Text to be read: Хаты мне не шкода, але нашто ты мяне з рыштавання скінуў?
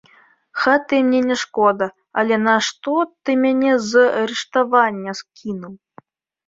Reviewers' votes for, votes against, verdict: 2, 0, accepted